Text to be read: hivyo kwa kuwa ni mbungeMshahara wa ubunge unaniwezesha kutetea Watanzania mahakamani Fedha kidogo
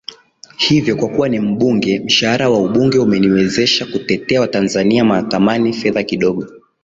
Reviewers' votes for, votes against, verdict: 0, 2, rejected